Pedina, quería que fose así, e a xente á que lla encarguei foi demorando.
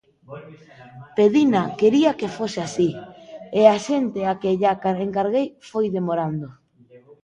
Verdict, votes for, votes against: rejected, 0, 2